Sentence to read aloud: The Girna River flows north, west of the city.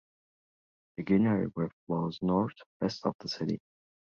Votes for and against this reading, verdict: 1, 2, rejected